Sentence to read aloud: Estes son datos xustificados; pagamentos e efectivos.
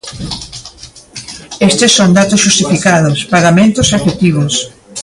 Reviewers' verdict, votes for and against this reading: rejected, 1, 2